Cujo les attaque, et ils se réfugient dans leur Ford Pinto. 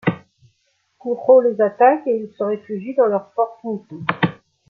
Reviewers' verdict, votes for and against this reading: rejected, 1, 2